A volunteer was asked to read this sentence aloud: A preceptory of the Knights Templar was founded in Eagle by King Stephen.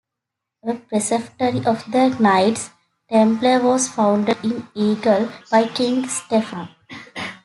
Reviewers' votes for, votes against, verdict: 2, 1, accepted